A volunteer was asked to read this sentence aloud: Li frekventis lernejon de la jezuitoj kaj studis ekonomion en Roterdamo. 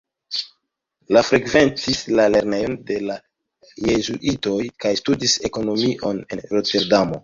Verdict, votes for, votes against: accepted, 2, 1